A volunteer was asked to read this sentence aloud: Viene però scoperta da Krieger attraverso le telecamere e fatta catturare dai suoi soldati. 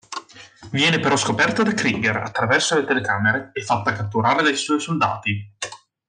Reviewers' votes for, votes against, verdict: 2, 0, accepted